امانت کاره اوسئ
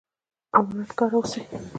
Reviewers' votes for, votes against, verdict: 1, 2, rejected